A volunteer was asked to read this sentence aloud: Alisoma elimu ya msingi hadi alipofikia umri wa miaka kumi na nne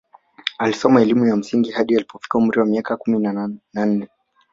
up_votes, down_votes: 1, 2